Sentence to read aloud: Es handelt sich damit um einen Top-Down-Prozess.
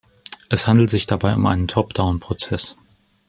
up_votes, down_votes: 0, 2